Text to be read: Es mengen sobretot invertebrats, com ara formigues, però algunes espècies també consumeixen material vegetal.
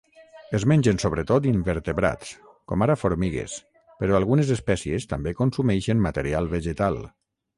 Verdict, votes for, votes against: rejected, 3, 3